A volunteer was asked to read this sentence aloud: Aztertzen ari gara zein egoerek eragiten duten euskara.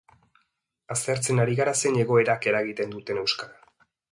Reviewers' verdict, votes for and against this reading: rejected, 1, 2